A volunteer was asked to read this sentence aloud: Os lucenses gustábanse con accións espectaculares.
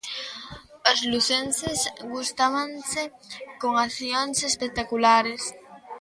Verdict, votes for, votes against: accepted, 2, 0